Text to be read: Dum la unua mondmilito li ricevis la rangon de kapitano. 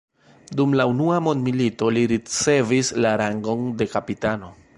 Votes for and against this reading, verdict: 1, 2, rejected